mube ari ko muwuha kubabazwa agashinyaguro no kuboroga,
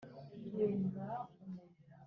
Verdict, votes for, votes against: rejected, 1, 2